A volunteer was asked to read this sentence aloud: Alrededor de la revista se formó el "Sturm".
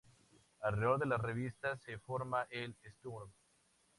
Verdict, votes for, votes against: accepted, 2, 0